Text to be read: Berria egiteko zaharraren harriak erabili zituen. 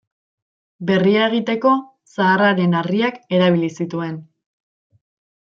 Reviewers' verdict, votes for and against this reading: accepted, 2, 0